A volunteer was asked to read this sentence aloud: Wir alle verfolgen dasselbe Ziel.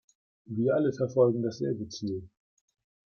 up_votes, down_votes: 2, 0